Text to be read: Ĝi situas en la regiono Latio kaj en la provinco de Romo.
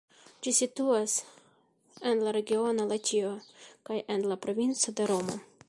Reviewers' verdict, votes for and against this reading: accepted, 2, 0